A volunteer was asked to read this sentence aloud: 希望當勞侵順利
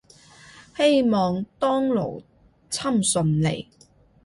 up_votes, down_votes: 2, 0